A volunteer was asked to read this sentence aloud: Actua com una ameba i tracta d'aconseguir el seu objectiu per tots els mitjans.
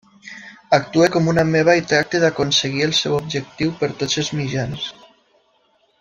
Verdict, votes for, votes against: accepted, 2, 0